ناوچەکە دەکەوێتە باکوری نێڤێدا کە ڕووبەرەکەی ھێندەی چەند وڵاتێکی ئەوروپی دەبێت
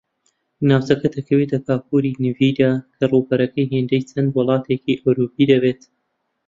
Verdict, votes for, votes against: rejected, 0, 2